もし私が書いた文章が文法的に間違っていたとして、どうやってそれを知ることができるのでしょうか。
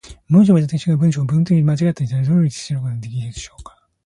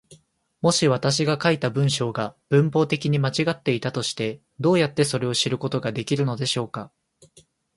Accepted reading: second